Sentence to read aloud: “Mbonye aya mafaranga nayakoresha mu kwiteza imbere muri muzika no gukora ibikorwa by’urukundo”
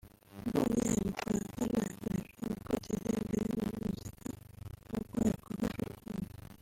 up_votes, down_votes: 0, 2